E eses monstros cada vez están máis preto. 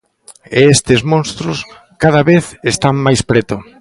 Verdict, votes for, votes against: rejected, 0, 2